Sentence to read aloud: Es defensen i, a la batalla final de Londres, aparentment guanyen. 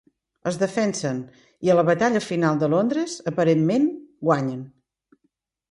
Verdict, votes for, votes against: accepted, 2, 0